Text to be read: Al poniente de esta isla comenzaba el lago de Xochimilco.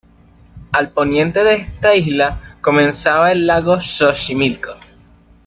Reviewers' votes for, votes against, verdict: 3, 2, accepted